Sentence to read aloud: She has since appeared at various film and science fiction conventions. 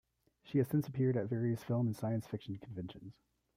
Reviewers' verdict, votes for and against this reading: rejected, 0, 2